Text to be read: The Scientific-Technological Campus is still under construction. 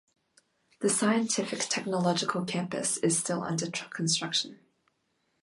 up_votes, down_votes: 0, 2